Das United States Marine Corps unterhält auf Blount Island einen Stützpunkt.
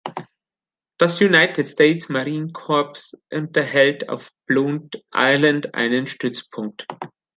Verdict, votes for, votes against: rejected, 1, 2